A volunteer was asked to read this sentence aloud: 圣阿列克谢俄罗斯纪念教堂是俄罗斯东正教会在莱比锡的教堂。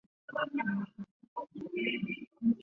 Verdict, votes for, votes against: rejected, 0, 2